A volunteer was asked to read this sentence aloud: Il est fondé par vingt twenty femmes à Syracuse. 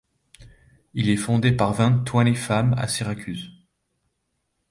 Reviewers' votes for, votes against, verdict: 2, 0, accepted